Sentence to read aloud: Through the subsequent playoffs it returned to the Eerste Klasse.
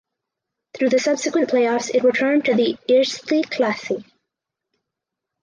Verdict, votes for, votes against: accepted, 4, 2